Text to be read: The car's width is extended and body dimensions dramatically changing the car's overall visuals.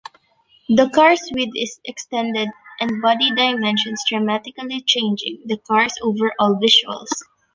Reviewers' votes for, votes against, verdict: 2, 1, accepted